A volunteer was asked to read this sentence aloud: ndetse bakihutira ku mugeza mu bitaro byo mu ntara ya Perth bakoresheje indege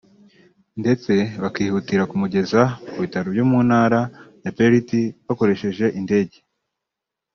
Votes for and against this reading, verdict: 1, 2, rejected